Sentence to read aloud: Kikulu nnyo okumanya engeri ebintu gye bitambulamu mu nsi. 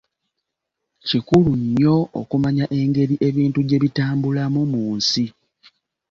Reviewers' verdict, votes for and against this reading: accepted, 2, 0